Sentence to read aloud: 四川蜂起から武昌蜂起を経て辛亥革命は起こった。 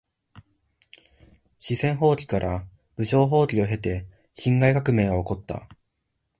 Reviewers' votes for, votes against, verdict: 3, 0, accepted